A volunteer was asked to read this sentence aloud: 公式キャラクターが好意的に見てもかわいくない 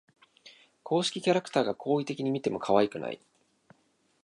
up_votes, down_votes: 7, 1